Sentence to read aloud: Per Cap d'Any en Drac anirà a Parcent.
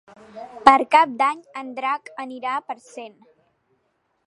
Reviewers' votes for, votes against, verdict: 2, 0, accepted